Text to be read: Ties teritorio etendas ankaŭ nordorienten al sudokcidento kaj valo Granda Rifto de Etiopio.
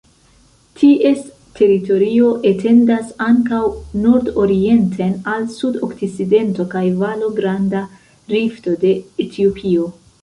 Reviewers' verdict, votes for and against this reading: rejected, 0, 2